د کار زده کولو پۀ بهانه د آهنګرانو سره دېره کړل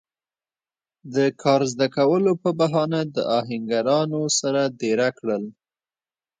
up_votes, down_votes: 2, 0